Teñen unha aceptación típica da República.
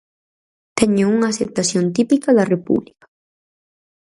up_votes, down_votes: 0, 4